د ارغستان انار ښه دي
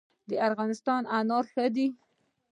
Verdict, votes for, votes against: rejected, 1, 2